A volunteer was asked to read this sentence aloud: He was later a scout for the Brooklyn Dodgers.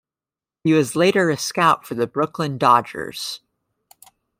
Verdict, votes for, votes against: accepted, 2, 0